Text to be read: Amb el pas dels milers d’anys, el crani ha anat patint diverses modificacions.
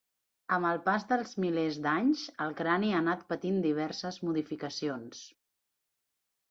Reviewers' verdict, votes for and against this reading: accepted, 4, 0